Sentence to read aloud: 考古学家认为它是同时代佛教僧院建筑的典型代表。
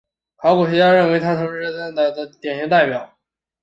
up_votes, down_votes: 1, 2